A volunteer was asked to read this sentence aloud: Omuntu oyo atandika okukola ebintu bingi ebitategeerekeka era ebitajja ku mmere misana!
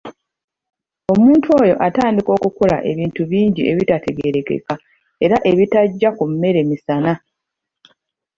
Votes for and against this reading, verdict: 1, 2, rejected